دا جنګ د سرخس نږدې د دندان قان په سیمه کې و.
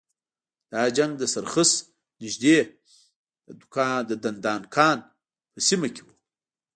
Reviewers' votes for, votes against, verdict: 1, 2, rejected